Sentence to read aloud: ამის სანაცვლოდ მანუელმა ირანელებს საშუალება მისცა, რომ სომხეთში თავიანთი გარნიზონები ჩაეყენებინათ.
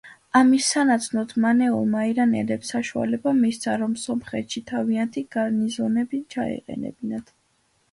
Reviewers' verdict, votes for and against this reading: rejected, 1, 2